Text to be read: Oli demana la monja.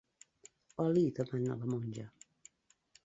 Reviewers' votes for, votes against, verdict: 0, 2, rejected